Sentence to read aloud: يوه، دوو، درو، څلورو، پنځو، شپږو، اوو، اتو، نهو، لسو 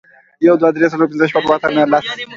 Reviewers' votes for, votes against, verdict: 2, 0, accepted